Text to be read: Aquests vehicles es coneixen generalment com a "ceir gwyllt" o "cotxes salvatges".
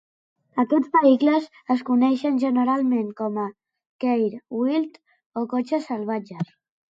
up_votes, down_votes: 2, 0